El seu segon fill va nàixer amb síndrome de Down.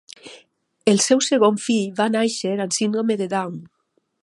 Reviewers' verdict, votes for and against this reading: accepted, 2, 0